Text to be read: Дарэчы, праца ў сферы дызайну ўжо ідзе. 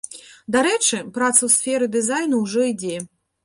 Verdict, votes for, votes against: accepted, 2, 0